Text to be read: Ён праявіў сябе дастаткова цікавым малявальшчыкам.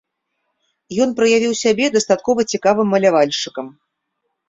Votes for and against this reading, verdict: 3, 0, accepted